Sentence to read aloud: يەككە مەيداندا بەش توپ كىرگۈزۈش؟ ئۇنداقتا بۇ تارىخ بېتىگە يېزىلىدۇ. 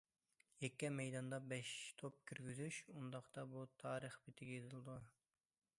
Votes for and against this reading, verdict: 2, 0, accepted